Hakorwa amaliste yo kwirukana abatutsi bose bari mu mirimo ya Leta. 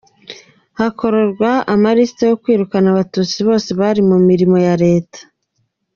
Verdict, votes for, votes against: accepted, 2, 1